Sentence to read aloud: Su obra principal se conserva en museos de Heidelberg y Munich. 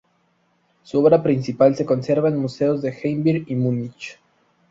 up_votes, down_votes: 4, 0